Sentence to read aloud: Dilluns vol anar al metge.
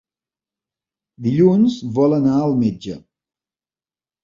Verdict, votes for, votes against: accepted, 3, 0